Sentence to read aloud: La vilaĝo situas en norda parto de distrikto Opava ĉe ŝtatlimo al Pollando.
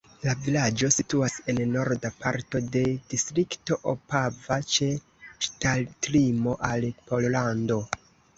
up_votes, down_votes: 2, 1